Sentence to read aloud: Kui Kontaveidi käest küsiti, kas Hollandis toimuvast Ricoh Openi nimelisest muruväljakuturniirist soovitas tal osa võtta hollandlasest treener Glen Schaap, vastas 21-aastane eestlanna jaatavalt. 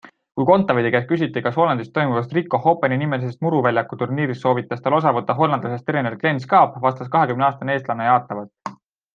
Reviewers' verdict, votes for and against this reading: rejected, 0, 2